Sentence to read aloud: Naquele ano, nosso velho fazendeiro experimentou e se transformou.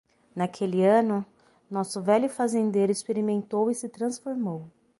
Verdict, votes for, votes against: accepted, 6, 0